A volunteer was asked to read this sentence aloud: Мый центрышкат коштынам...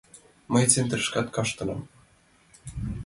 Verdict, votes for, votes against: rejected, 0, 2